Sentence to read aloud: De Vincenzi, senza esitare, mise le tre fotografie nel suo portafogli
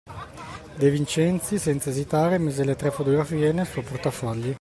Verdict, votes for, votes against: accepted, 2, 0